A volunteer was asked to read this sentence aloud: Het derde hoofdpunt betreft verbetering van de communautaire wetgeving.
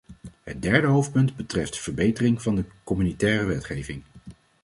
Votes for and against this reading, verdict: 0, 2, rejected